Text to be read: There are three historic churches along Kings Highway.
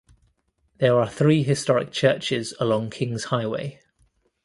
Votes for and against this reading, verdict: 3, 0, accepted